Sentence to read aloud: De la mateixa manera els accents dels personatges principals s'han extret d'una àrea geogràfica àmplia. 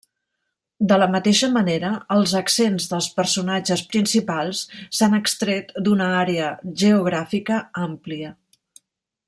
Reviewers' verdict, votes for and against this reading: accepted, 3, 0